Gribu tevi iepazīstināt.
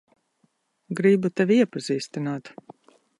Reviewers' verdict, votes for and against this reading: accepted, 3, 0